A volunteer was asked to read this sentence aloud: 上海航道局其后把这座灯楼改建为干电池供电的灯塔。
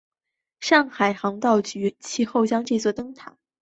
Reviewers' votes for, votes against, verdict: 2, 1, accepted